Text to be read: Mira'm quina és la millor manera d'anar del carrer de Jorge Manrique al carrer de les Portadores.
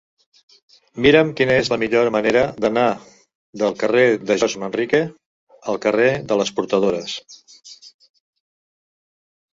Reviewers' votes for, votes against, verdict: 1, 2, rejected